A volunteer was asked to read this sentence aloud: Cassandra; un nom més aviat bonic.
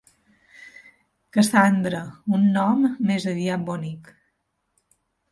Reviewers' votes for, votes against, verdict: 2, 0, accepted